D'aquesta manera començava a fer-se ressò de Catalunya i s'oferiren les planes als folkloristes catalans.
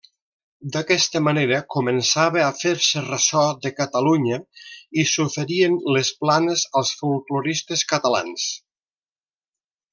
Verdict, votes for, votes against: rejected, 1, 2